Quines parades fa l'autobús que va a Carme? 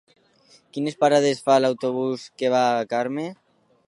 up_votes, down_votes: 2, 0